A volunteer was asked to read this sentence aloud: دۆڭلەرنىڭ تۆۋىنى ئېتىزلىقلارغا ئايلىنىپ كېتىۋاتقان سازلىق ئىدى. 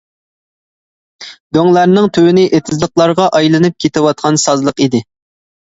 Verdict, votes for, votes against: accepted, 2, 0